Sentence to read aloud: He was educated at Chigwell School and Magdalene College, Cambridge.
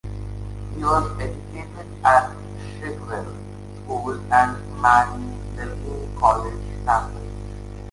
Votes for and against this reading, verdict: 0, 2, rejected